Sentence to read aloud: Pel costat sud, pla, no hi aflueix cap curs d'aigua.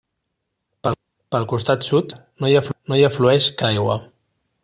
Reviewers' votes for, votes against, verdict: 0, 2, rejected